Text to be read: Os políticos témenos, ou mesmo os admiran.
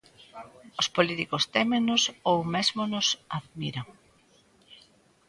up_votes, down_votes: 0, 2